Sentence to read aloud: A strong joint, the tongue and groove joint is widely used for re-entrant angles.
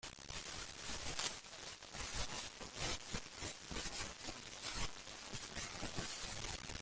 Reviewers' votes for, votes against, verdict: 0, 2, rejected